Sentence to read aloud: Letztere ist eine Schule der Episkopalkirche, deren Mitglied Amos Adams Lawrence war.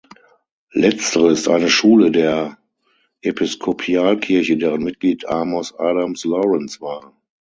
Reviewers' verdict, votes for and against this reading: rejected, 3, 6